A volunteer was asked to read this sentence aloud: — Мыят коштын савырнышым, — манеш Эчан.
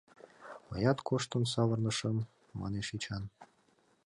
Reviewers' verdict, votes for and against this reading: accepted, 2, 0